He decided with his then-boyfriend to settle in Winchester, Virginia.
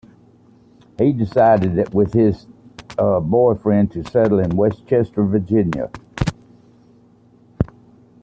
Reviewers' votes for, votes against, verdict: 0, 2, rejected